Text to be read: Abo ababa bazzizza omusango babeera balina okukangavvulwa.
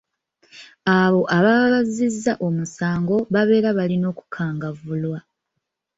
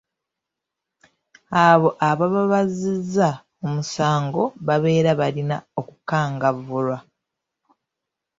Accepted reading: second